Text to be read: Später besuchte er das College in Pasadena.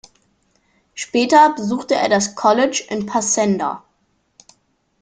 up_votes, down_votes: 0, 2